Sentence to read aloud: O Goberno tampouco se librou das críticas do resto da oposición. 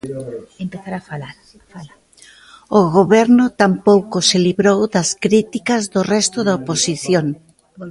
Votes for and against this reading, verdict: 0, 3, rejected